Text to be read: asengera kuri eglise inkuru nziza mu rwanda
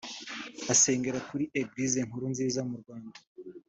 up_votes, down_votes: 2, 0